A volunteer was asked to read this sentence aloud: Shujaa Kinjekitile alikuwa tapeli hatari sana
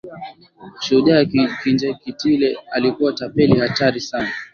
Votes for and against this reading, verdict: 2, 1, accepted